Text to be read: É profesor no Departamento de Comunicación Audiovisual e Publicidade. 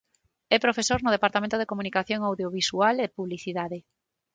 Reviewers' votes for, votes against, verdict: 6, 0, accepted